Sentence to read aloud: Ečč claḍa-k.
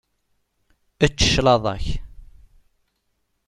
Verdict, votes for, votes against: accepted, 2, 0